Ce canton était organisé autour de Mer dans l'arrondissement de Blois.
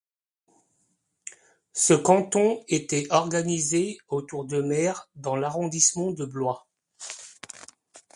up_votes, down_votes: 2, 0